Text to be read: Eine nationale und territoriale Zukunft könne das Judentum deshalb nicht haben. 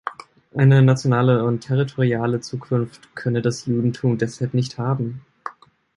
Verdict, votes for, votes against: accepted, 3, 0